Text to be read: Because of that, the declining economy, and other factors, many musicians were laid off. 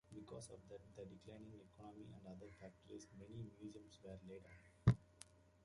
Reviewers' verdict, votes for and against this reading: accepted, 2, 1